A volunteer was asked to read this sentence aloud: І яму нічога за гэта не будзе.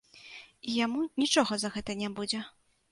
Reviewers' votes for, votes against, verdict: 2, 0, accepted